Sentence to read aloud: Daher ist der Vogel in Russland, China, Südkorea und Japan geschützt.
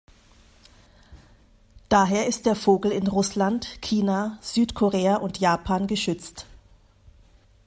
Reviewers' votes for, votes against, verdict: 0, 2, rejected